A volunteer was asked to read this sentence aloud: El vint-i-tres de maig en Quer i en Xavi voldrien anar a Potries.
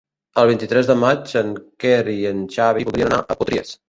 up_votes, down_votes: 1, 2